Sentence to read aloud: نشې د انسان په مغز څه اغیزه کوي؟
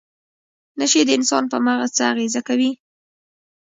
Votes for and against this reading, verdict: 2, 1, accepted